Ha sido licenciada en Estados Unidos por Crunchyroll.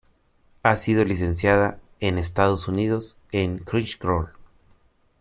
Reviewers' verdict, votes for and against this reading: rejected, 0, 2